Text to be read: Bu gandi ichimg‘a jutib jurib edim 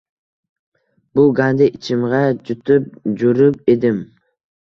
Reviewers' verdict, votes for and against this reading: accepted, 2, 0